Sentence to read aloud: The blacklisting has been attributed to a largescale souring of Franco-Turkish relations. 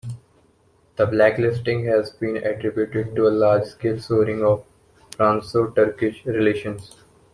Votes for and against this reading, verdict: 0, 2, rejected